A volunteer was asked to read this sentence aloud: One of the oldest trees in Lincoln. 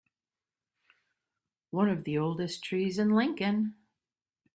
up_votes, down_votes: 2, 0